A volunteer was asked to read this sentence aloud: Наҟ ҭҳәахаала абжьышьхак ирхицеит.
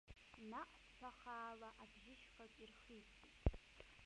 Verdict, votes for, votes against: rejected, 0, 2